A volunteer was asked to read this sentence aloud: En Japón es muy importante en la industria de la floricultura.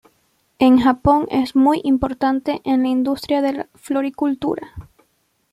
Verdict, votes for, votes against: rejected, 1, 2